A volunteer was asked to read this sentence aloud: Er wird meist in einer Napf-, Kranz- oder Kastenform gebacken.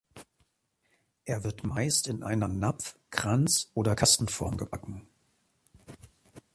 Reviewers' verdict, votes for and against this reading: accepted, 4, 0